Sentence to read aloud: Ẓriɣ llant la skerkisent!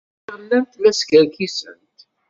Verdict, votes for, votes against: rejected, 1, 2